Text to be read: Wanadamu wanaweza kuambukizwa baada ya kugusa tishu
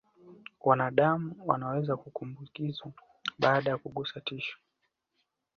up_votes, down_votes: 2, 1